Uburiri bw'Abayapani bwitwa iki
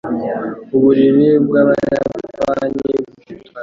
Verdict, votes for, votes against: rejected, 1, 2